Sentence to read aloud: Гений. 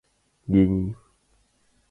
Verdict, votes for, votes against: rejected, 0, 2